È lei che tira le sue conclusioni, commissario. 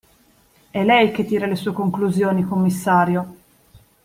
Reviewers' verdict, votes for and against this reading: accepted, 3, 0